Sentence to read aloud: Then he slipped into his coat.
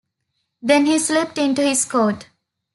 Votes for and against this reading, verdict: 2, 0, accepted